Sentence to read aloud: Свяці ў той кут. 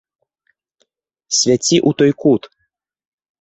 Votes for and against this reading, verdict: 2, 0, accepted